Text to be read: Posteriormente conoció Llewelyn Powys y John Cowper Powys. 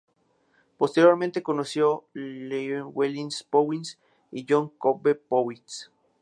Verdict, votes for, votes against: rejected, 0, 2